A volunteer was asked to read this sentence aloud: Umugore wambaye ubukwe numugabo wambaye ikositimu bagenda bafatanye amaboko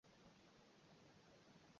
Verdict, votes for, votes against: rejected, 0, 2